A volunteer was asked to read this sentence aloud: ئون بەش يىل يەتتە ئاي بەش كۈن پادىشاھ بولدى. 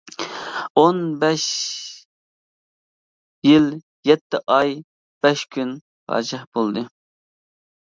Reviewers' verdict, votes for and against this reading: accepted, 2, 1